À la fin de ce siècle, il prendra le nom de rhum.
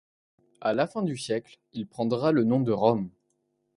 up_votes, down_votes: 1, 2